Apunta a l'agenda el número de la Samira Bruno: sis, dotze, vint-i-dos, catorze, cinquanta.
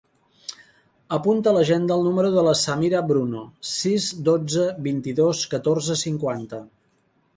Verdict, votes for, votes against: accepted, 4, 0